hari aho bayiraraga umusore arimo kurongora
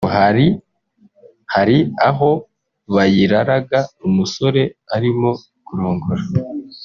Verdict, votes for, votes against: rejected, 1, 2